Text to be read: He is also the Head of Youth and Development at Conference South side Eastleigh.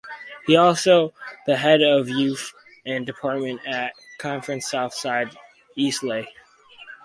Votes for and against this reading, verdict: 0, 4, rejected